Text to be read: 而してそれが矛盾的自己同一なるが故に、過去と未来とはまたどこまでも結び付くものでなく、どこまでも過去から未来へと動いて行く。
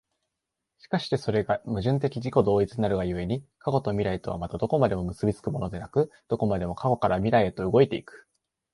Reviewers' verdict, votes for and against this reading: accepted, 2, 0